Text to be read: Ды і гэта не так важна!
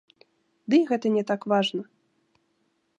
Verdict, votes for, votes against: accepted, 2, 0